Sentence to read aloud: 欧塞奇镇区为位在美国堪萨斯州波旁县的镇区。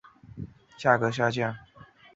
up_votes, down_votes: 3, 4